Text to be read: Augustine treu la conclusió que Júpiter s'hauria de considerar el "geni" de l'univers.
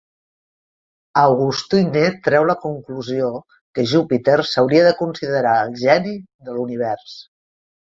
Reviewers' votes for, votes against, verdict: 1, 2, rejected